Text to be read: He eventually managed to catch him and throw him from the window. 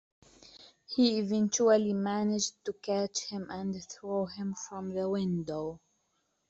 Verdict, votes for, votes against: accepted, 2, 0